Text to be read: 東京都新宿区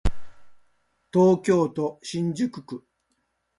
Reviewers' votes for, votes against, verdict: 2, 0, accepted